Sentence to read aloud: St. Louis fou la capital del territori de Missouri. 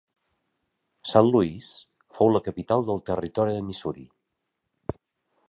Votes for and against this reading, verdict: 2, 0, accepted